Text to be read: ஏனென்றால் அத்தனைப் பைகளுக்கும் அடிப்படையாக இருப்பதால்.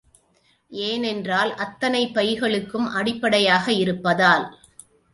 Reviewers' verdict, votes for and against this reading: accepted, 2, 0